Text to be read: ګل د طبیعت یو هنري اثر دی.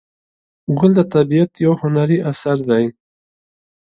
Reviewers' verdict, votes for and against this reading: accepted, 2, 0